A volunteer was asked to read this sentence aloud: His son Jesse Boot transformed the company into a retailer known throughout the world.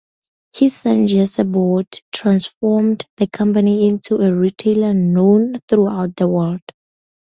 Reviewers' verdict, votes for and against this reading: accepted, 2, 0